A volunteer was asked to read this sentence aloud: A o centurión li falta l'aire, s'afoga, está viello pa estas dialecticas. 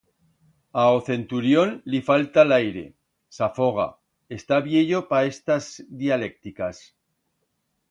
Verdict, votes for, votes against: rejected, 1, 2